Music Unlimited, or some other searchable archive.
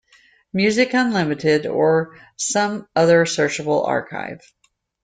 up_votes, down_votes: 2, 0